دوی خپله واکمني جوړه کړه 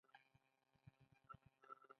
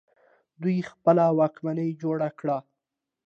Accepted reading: second